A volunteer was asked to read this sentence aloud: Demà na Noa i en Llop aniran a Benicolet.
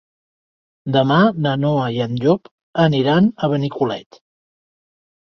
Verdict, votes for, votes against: accepted, 3, 0